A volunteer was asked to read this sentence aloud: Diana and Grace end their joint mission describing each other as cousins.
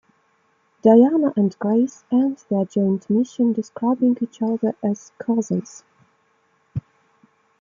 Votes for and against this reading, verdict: 2, 0, accepted